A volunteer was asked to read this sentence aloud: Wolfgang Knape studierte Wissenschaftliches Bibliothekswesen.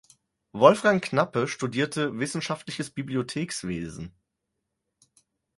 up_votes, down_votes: 2, 4